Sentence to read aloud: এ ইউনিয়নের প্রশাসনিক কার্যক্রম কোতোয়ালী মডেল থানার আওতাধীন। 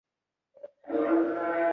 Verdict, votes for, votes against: rejected, 0, 2